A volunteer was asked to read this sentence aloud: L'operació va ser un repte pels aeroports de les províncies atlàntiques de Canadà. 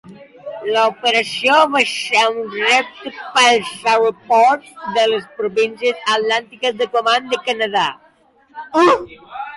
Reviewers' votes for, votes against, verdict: 0, 2, rejected